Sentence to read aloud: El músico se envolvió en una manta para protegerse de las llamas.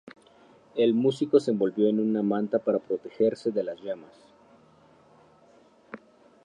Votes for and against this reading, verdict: 4, 0, accepted